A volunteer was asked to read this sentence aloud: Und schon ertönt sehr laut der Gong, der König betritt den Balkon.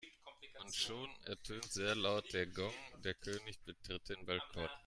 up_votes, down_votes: 1, 2